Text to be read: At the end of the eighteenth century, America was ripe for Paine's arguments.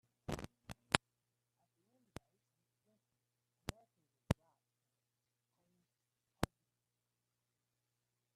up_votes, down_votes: 0, 2